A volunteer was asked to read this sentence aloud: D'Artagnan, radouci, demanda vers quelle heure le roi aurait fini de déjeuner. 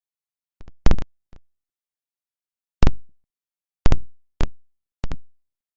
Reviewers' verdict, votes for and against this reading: rejected, 0, 2